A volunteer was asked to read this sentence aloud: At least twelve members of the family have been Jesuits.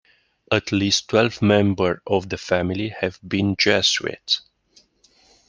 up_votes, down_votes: 0, 2